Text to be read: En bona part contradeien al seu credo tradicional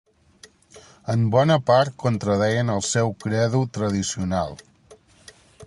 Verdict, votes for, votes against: accepted, 2, 0